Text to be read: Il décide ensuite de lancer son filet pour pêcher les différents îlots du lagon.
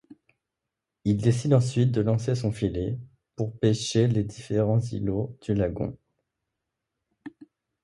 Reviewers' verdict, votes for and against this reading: accepted, 2, 0